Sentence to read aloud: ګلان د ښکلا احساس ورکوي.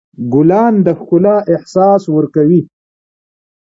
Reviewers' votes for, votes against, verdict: 2, 0, accepted